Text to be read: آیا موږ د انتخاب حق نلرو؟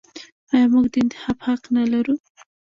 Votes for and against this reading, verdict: 0, 2, rejected